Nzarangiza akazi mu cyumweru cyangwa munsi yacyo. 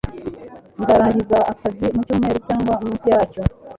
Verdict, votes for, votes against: accepted, 2, 1